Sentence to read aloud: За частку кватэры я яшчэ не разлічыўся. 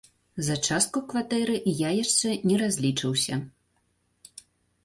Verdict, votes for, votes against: rejected, 0, 2